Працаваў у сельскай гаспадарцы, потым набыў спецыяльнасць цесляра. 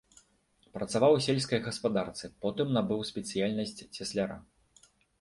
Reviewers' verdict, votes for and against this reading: accepted, 2, 1